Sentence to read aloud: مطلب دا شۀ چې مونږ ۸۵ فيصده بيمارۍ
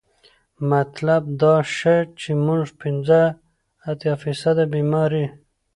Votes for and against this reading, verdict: 0, 2, rejected